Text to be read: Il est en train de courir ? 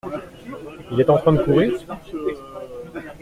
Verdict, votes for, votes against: accepted, 2, 0